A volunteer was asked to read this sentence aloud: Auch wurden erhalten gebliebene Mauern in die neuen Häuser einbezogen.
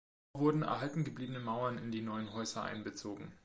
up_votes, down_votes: 0, 2